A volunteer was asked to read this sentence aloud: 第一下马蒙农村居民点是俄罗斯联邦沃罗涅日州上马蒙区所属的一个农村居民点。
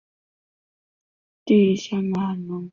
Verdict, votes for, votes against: rejected, 1, 2